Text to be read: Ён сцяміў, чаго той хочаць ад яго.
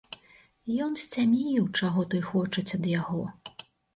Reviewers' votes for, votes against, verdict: 1, 2, rejected